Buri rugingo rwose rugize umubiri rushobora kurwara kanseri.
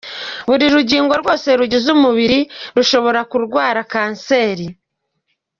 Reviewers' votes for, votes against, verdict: 2, 0, accepted